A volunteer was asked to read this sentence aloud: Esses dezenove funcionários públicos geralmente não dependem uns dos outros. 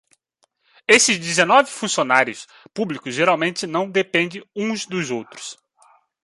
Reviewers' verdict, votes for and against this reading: accepted, 2, 0